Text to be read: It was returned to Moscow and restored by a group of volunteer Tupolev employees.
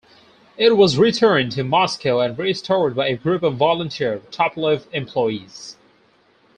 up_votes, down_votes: 2, 2